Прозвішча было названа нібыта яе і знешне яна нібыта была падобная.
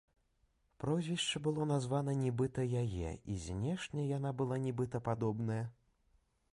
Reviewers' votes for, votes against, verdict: 0, 2, rejected